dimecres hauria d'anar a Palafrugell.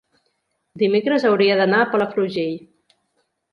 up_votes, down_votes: 2, 0